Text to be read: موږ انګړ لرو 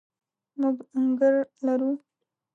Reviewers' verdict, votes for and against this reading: rejected, 0, 2